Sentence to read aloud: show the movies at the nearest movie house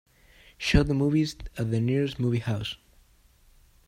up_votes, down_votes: 2, 0